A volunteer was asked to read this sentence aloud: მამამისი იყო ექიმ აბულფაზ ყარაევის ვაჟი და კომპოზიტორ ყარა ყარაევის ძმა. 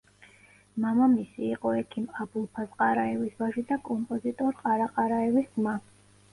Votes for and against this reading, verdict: 1, 2, rejected